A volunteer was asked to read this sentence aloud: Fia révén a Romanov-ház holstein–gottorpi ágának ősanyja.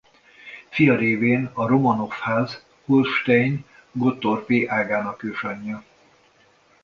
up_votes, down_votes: 2, 0